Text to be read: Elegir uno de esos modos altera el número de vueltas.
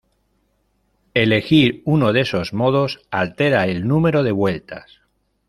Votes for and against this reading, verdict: 2, 0, accepted